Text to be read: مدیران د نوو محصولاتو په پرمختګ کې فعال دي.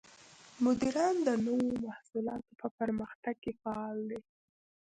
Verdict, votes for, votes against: accepted, 2, 0